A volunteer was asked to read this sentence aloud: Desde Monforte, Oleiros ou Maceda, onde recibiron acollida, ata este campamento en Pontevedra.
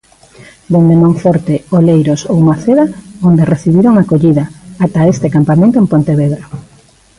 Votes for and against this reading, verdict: 0, 3, rejected